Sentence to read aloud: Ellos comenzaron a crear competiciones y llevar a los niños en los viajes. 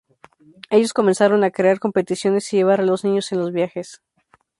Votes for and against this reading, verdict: 0, 2, rejected